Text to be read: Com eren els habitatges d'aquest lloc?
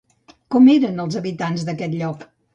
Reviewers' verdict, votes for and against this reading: rejected, 0, 2